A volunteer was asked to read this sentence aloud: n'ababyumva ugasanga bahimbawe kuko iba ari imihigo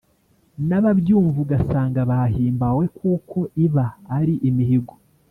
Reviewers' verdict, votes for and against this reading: accepted, 2, 0